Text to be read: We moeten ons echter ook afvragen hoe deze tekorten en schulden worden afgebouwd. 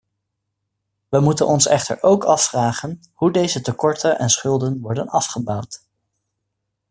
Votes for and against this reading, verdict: 2, 0, accepted